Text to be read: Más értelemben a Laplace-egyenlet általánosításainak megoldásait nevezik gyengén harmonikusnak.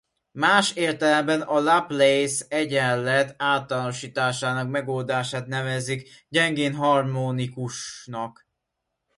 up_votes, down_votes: 0, 2